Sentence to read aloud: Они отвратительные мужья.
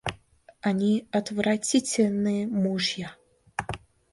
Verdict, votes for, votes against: accepted, 2, 0